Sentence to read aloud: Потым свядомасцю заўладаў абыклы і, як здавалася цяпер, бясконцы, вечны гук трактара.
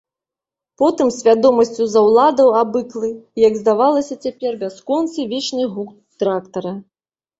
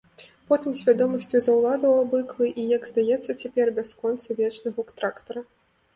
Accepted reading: second